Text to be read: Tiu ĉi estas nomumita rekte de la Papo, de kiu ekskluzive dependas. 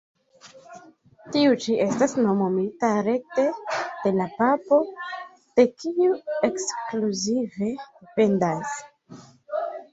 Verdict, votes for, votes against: rejected, 1, 2